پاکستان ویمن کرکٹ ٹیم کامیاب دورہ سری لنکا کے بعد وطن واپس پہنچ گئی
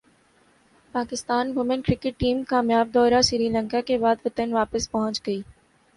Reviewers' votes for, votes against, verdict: 3, 0, accepted